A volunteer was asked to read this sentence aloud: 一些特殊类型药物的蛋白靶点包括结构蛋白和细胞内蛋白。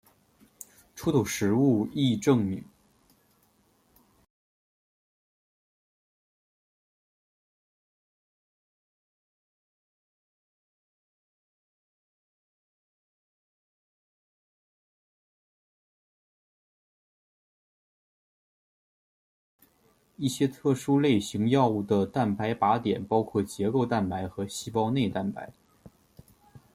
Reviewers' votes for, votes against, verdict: 0, 2, rejected